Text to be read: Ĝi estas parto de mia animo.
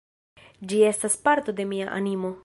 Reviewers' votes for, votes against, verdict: 2, 1, accepted